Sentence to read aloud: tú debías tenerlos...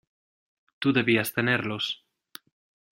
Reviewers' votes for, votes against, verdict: 2, 0, accepted